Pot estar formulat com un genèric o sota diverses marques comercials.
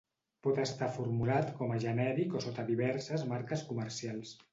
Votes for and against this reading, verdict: 1, 2, rejected